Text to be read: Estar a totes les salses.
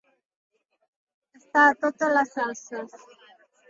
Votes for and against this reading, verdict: 2, 1, accepted